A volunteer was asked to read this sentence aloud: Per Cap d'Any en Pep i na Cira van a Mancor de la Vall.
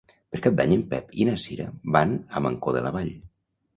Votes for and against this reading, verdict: 2, 0, accepted